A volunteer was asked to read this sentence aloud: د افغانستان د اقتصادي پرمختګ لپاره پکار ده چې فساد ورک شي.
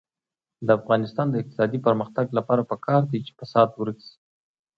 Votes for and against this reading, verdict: 2, 0, accepted